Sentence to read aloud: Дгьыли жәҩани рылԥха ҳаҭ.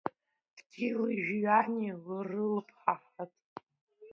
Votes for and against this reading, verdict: 1, 3, rejected